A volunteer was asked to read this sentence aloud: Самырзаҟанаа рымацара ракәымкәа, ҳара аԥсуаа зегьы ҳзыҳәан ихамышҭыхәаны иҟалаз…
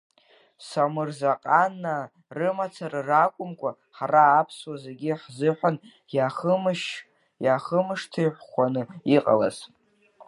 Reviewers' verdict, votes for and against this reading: rejected, 0, 2